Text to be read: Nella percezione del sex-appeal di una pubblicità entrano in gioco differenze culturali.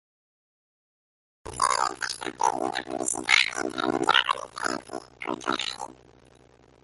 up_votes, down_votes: 0, 2